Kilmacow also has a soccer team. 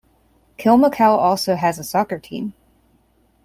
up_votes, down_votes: 2, 0